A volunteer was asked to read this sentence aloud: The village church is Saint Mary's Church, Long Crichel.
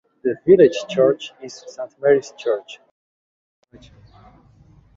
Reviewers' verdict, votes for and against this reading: rejected, 1, 3